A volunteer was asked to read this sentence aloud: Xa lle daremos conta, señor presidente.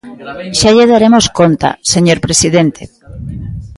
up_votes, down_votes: 1, 2